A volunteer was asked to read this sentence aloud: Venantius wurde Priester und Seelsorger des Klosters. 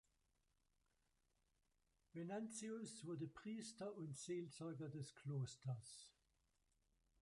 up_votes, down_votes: 0, 2